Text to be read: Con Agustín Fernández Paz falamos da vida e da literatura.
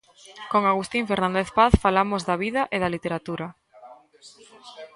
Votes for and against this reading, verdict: 0, 2, rejected